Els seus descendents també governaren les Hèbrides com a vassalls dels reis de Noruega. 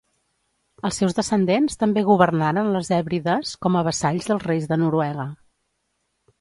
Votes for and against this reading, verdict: 3, 0, accepted